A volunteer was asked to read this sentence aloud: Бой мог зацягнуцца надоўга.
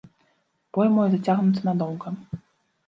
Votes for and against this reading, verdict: 1, 2, rejected